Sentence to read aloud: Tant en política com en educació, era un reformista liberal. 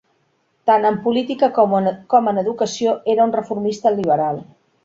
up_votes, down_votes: 3, 1